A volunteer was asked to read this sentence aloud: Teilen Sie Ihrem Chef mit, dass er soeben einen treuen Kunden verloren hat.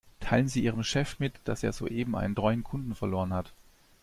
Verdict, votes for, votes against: accepted, 2, 0